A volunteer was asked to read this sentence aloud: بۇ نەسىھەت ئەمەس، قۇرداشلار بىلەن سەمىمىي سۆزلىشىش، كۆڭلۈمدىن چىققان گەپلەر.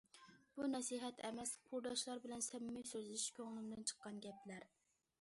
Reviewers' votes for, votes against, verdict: 2, 0, accepted